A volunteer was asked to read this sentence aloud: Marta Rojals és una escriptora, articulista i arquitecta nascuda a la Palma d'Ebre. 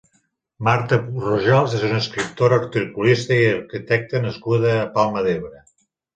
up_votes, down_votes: 2, 3